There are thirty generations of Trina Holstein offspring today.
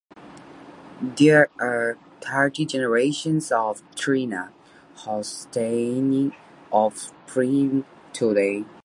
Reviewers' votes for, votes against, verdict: 0, 2, rejected